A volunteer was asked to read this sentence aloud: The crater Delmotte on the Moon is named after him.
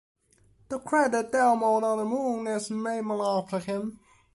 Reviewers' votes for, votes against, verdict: 0, 2, rejected